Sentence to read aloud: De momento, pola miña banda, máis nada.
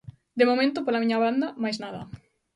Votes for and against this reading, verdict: 2, 0, accepted